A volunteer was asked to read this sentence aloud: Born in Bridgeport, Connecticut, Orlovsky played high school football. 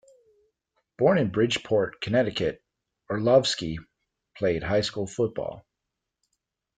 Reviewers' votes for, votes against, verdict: 2, 0, accepted